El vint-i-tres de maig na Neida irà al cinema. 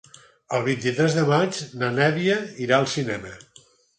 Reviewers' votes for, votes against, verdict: 2, 6, rejected